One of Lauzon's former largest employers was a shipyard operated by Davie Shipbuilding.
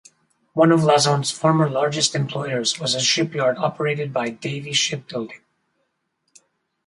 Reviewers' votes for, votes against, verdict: 2, 2, rejected